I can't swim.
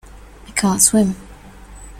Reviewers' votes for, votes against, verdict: 2, 0, accepted